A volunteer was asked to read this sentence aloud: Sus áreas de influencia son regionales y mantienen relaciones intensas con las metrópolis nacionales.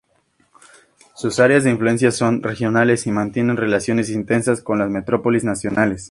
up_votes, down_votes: 2, 0